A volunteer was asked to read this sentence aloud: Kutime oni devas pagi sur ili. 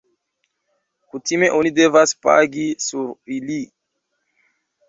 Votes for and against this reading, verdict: 1, 2, rejected